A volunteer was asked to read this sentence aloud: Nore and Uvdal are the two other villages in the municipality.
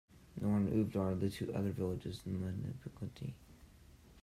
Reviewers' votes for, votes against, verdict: 1, 2, rejected